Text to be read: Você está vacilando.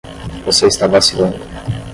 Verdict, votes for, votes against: rejected, 0, 5